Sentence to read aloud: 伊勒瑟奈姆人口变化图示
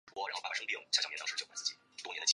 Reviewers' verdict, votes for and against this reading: rejected, 0, 2